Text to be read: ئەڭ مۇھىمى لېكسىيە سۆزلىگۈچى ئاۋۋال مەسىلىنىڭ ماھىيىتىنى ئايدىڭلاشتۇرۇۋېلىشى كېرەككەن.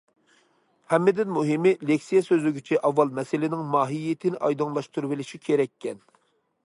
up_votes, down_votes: 0, 2